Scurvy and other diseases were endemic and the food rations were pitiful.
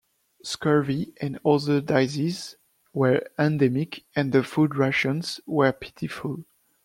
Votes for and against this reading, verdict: 0, 2, rejected